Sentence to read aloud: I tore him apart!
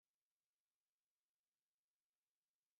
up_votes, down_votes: 0, 3